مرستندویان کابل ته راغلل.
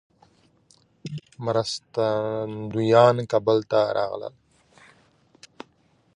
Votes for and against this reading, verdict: 2, 1, accepted